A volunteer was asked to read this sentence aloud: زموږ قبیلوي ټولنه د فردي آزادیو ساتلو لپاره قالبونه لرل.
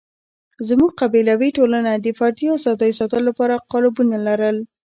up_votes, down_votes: 1, 2